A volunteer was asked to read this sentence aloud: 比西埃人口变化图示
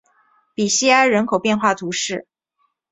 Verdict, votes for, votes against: accepted, 3, 0